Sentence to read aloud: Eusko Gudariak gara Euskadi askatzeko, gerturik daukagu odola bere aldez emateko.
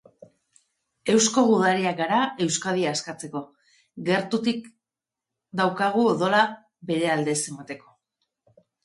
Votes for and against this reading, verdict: 1, 2, rejected